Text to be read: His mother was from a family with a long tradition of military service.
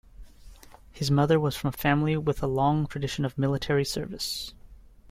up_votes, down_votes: 2, 0